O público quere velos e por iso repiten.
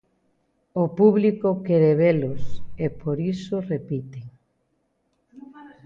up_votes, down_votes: 0, 2